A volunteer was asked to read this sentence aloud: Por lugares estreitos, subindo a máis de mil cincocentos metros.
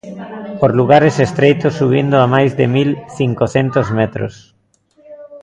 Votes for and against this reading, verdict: 2, 0, accepted